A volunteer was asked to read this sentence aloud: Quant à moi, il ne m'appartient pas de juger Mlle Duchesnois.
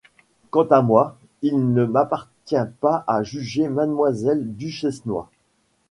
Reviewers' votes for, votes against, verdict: 1, 2, rejected